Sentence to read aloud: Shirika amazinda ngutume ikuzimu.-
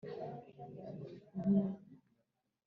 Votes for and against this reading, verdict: 1, 2, rejected